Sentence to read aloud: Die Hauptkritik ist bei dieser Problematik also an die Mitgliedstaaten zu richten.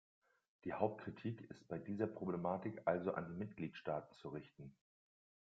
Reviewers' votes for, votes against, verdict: 1, 2, rejected